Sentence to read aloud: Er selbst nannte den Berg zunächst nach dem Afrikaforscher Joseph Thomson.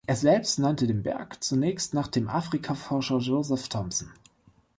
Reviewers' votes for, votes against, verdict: 2, 0, accepted